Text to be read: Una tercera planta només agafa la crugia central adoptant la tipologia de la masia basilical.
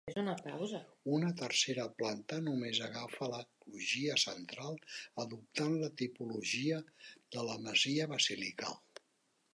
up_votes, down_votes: 0, 2